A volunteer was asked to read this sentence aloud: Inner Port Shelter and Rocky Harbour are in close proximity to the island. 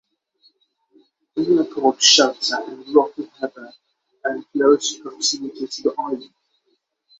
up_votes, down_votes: 6, 0